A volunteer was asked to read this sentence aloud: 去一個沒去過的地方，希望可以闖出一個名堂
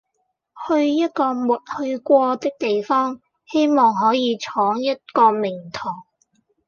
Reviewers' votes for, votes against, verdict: 0, 2, rejected